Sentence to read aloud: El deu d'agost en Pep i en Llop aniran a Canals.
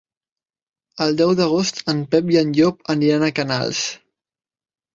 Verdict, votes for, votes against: accepted, 2, 0